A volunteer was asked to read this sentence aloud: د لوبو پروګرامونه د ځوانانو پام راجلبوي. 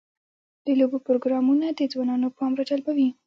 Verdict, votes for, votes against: rejected, 1, 2